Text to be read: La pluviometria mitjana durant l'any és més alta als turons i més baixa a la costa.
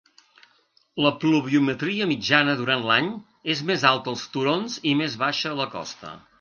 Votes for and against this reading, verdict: 2, 0, accepted